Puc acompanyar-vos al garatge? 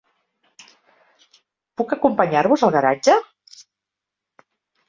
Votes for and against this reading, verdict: 3, 0, accepted